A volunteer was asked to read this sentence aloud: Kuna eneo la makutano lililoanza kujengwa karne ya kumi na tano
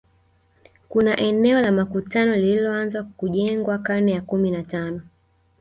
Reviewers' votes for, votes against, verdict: 2, 1, accepted